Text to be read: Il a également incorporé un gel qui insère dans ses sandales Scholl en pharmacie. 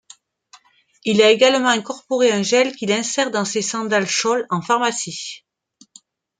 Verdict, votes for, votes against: rejected, 1, 2